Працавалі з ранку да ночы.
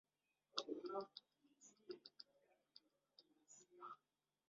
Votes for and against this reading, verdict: 0, 2, rejected